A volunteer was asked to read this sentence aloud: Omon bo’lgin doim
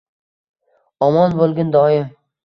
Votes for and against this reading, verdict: 2, 0, accepted